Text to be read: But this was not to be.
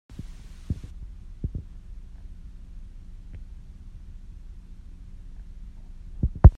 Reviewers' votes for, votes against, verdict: 0, 2, rejected